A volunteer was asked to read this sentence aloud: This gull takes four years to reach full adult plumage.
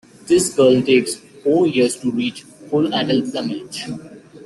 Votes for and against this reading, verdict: 1, 2, rejected